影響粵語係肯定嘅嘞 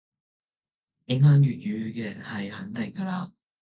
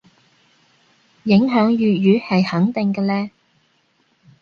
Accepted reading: second